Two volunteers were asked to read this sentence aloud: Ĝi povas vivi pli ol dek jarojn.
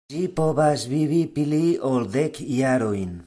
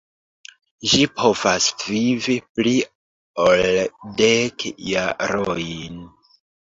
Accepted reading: first